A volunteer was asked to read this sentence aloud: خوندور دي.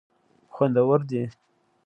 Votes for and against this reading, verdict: 2, 0, accepted